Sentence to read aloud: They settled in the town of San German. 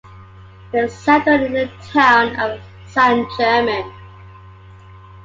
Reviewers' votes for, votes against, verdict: 2, 0, accepted